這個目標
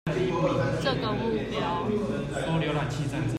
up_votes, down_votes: 1, 2